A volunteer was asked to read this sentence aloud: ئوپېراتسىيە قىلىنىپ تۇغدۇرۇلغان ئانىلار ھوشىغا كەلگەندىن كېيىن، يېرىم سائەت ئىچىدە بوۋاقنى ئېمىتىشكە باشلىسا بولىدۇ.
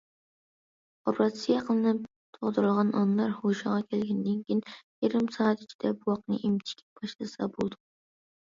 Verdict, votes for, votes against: accepted, 2, 0